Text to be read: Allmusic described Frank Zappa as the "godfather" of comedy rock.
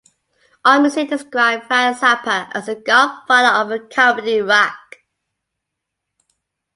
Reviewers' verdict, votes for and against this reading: accepted, 2, 0